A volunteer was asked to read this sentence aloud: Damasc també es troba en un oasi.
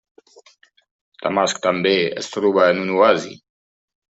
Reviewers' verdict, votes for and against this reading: rejected, 1, 4